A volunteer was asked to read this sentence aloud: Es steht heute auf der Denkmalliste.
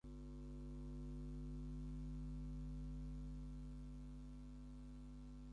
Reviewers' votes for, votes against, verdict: 0, 4, rejected